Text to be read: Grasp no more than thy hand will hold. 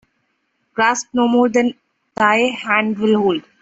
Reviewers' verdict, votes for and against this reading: accepted, 2, 1